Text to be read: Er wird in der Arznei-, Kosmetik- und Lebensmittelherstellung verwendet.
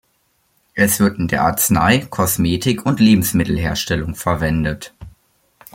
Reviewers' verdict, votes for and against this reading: rejected, 0, 2